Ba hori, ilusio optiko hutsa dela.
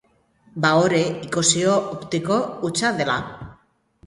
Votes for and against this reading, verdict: 0, 2, rejected